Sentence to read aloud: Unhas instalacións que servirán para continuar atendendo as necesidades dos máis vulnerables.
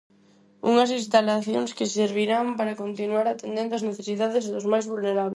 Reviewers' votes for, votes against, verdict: 0, 4, rejected